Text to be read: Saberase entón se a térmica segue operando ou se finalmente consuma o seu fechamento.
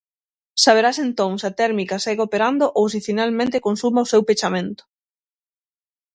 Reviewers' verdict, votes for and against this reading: rejected, 0, 6